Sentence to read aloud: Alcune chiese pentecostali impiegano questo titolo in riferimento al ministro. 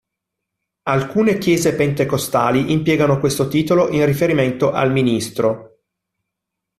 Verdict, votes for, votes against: accepted, 2, 0